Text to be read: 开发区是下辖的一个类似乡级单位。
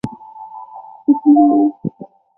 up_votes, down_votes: 0, 2